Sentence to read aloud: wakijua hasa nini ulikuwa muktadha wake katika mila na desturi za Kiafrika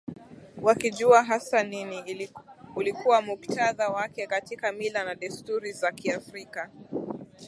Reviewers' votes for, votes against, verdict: 12, 1, accepted